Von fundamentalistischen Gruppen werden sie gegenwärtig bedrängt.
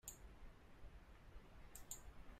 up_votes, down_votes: 0, 2